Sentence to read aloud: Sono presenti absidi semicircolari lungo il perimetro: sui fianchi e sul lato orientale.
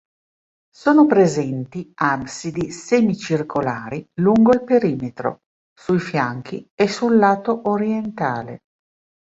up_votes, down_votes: 3, 0